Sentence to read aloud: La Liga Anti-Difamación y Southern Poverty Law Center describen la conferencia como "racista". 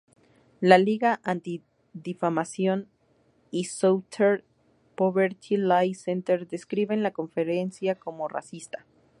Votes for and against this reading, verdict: 0, 2, rejected